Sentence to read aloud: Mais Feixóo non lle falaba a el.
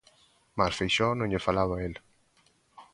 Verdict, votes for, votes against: accepted, 2, 1